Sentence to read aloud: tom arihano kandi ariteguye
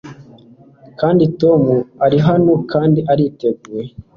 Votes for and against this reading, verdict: 1, 2, rejected